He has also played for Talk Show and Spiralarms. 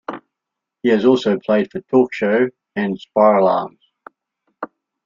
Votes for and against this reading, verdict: 2, 0, accepted